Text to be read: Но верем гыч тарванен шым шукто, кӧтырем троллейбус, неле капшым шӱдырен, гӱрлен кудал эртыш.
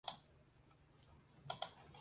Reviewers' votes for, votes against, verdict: 0, 2, rejected